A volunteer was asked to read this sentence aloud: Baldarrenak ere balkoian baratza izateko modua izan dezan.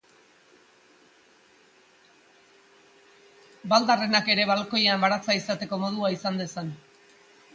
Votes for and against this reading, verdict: 2, 0, accepted